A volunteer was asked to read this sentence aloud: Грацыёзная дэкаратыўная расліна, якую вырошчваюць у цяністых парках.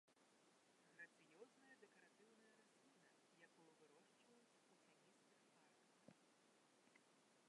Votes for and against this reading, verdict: 0, 2, rejected